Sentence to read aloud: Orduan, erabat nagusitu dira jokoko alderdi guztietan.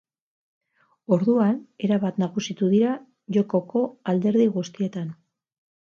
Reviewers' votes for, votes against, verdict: 4, 4, rejected